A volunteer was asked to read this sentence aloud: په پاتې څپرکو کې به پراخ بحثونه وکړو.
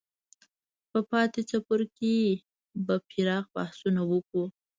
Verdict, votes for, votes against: rejected, 0, 2